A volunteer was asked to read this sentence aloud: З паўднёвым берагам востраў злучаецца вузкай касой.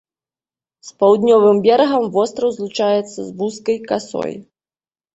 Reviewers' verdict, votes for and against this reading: rejected, 0, 2